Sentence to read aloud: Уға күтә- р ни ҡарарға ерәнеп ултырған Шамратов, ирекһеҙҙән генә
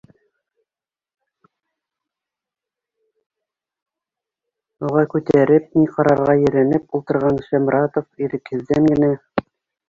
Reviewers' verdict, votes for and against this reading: rejected, 0, 2